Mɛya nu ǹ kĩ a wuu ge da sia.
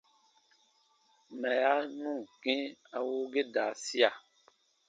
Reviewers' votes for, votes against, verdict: 4, 1, accepted